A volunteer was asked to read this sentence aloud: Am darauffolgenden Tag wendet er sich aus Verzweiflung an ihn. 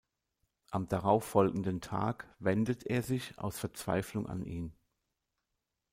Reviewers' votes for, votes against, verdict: 2, 0, accepted